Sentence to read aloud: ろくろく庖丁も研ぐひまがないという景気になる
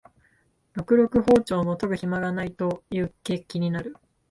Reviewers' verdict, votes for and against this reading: accepted, 2, 0